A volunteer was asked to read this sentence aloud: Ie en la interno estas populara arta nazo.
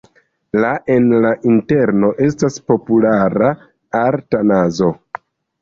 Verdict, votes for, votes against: rejected, 0, 2